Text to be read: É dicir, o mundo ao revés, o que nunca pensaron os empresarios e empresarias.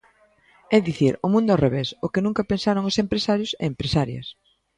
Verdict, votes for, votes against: accepted, 2, 0